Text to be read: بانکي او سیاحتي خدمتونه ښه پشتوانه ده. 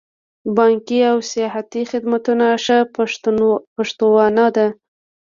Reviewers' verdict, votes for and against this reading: rejected, 1, 2